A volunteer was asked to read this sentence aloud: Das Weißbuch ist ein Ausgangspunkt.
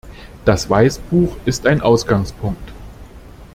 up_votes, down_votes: 2, 0